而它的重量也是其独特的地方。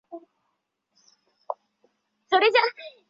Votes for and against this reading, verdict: 0, 2, rejected